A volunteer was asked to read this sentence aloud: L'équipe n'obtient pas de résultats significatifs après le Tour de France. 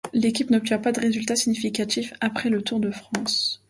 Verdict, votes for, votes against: accepted, 2, 0